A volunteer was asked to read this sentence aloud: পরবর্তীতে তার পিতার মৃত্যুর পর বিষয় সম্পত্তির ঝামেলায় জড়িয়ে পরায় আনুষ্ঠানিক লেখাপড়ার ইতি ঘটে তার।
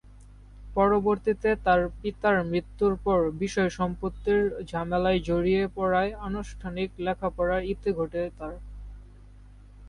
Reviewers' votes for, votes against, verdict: 4, 0, accepted